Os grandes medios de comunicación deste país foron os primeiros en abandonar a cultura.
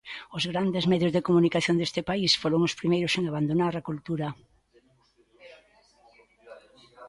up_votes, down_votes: 0, 2